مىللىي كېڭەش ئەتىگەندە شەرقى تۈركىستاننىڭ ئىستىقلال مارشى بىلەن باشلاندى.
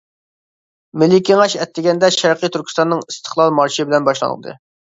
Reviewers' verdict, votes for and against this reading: rejected, 0, 2